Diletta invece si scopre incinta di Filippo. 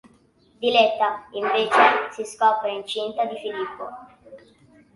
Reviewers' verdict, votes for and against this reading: accepted, 2, 1